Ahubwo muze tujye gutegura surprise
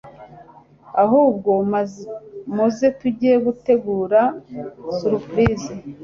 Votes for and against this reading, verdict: 1, 2, rejected